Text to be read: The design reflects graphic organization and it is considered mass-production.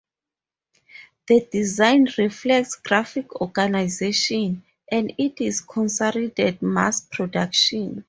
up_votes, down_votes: 0, 4